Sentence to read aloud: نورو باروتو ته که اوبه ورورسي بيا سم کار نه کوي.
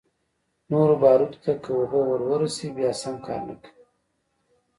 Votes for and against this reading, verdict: 1, 2, rejected